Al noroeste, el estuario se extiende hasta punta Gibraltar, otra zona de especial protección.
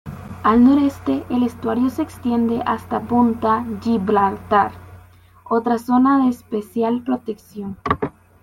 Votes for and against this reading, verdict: 1, 2, rejected